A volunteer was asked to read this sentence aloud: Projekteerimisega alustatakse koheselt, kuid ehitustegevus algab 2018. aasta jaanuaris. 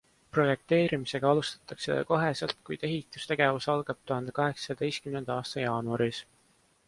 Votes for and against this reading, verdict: 0, 2, rejected